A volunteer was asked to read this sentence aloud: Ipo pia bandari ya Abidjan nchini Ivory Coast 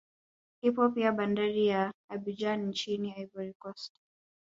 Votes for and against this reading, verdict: 4, 0, accepted